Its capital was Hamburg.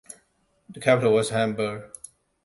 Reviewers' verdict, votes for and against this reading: rejected, 0, 2